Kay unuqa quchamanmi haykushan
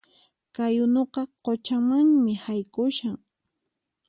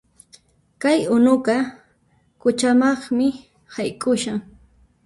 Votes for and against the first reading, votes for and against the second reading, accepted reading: 4, 0, 1, 2, first